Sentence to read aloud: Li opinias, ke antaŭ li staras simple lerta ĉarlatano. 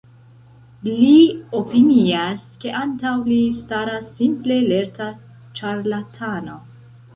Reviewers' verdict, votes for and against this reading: accepted, 2, 1